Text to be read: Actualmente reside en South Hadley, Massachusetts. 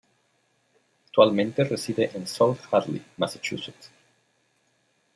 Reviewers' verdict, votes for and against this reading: rejected, 1, 2